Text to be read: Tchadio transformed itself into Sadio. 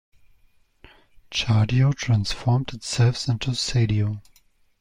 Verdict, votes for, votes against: accepted, 2, 0